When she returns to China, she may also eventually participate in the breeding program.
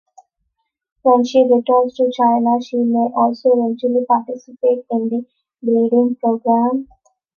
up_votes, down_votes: 2, 0